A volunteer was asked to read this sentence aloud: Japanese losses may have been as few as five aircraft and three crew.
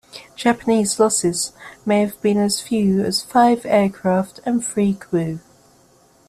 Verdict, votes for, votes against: accepted, 2, 0